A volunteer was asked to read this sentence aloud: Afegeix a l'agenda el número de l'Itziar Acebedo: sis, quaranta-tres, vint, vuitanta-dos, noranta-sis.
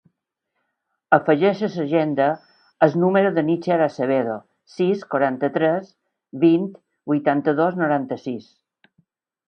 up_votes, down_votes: 1, 2